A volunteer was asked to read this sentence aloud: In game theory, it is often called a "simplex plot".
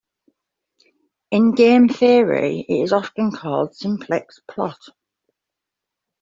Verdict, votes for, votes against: rejected, 1, 2